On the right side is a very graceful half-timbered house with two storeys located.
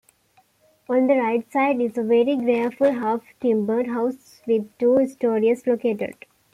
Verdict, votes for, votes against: rejected, 1, 2